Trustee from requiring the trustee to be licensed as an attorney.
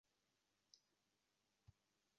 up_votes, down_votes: 0, 2